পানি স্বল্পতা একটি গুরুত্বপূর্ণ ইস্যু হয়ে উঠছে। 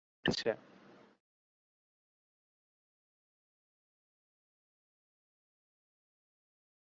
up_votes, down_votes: 0, 2